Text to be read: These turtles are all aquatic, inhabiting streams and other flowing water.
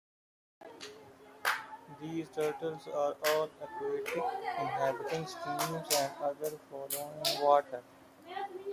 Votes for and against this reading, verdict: 1, 2, rejected